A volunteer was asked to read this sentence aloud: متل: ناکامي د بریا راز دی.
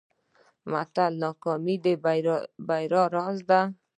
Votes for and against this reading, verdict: 2, 0, accepted